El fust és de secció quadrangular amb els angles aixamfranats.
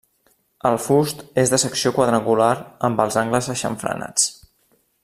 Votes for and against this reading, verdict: 2, 1, accepted